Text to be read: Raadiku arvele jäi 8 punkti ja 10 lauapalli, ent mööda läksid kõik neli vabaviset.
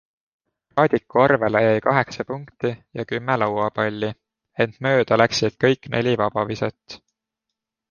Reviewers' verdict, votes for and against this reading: rejected, 0, 2